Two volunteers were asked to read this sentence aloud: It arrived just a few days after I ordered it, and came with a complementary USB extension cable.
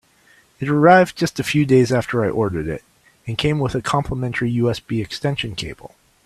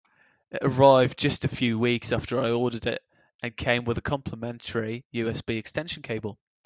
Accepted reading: first